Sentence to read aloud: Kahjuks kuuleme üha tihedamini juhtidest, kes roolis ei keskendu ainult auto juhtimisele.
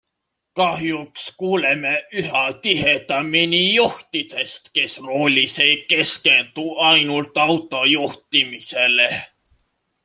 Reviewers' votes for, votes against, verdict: 2, 0, accepted